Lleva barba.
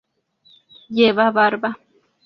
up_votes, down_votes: 2, 0